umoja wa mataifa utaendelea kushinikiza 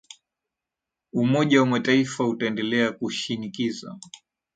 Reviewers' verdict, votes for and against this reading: rejected, 0, 2